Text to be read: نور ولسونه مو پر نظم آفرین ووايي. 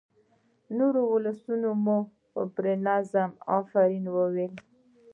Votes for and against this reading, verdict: 2, 0, accepted